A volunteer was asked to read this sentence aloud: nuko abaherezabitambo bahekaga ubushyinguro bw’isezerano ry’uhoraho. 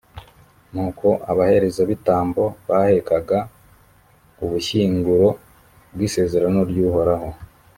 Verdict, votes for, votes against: accepted, 3, 0